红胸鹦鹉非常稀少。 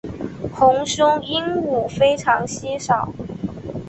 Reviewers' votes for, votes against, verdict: 3, 0, accepted